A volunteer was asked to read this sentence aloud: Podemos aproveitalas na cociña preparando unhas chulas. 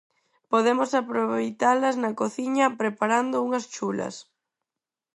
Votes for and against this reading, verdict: 4, 0, accepted